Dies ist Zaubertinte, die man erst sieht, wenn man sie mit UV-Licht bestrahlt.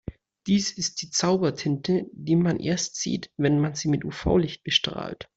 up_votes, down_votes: 0, 2